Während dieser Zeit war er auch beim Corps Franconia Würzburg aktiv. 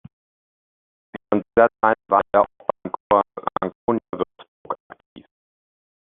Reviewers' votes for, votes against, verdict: 0, 2, rejected